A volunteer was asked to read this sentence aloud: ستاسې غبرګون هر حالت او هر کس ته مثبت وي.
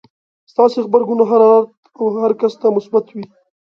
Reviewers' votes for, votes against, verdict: 1, 2, rejected